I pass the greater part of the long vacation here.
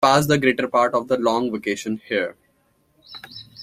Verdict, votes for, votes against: rejected, 1, 2